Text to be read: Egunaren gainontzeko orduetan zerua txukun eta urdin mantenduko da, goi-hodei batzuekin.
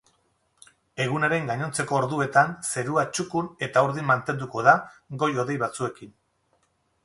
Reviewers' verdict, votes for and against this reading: accepted, 8, 0